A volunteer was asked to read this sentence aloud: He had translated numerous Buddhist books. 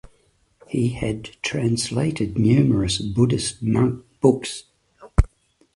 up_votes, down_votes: 1, 2